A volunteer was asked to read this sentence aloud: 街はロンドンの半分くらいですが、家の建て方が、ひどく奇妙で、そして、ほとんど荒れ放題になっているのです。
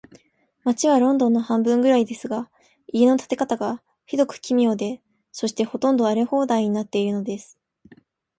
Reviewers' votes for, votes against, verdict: 4, 2, accepted